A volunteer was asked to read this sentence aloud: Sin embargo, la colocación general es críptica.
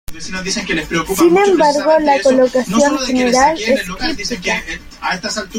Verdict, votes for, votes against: rejected, 0, 2